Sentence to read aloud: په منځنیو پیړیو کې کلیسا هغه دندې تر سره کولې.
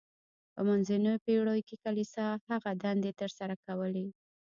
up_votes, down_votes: 2, 1